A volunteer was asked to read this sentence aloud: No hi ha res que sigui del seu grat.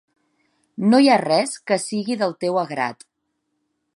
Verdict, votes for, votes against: rejected, 0, 2